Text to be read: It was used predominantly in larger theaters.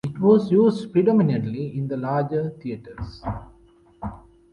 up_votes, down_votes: 0, 2